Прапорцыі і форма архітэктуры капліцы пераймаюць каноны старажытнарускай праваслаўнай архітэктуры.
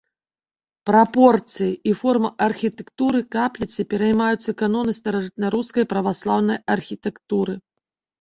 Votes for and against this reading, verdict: 0, 2, rejected